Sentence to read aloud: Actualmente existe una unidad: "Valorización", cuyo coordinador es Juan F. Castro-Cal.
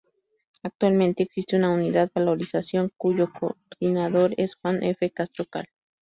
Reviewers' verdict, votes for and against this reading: rejected, 2, 2